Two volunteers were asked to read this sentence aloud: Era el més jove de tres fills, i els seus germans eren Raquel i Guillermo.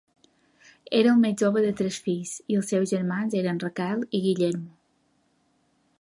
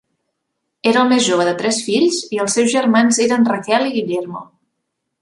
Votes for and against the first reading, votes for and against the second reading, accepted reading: 2, 0, 1, 2, first